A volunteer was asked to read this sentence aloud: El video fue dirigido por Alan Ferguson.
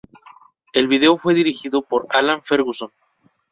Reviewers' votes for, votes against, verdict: 0, 2, rejected